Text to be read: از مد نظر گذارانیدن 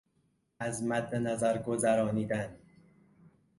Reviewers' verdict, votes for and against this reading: rejected, 0, 2